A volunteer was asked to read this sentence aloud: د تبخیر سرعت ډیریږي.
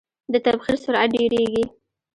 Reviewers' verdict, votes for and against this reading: accepted, 3, 0